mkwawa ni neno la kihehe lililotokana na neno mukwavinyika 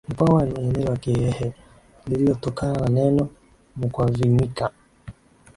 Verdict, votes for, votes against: accepted, 3, 1